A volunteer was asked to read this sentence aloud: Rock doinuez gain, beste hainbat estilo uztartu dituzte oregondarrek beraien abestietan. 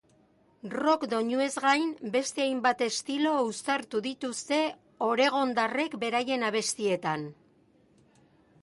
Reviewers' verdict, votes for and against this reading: accepted, 2, 0